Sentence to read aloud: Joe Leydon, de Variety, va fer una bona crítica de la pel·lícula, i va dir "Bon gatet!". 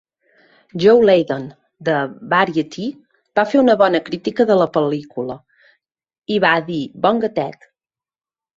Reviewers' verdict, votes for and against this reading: accepted, 2, 0